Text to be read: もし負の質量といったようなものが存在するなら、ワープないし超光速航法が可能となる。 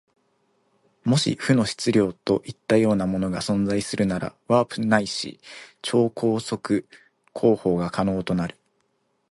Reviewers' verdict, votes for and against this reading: accepted, 2, 0